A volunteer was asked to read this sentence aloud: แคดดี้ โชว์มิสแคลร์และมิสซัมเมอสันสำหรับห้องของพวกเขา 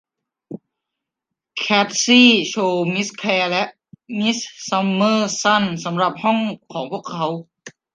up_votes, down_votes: 1, 2